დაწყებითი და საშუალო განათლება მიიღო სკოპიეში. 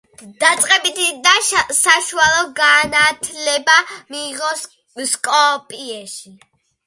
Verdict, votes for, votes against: rejected, 0, 2